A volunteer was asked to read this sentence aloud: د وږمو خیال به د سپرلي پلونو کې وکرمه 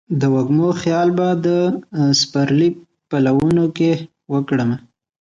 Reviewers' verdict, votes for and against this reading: rejected, 1, 2